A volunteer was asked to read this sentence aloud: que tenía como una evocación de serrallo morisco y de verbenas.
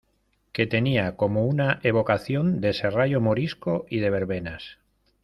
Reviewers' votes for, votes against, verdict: 2, 0, accepted